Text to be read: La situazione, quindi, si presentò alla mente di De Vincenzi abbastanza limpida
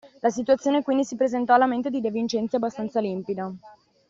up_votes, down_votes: 2, 0